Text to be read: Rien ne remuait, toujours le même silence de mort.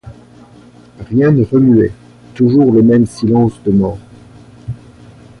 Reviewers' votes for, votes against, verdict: 2, 0, accepted